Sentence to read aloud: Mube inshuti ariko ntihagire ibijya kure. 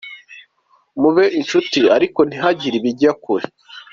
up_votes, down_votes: 2, 0